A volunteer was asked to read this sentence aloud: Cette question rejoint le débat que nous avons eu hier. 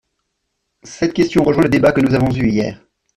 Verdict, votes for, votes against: rejected, 1, 2